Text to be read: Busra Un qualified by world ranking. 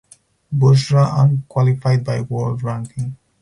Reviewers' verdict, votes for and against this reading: accepted, 4, 0